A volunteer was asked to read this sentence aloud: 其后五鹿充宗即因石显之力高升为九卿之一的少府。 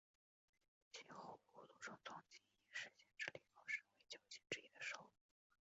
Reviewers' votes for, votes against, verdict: 0, 3, rejected